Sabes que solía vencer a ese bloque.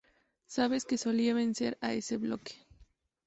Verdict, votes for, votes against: accepted, 2, 0